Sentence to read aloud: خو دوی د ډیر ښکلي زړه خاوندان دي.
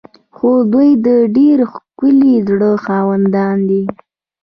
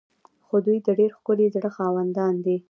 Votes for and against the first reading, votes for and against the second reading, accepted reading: 2, 0, 1, 2, first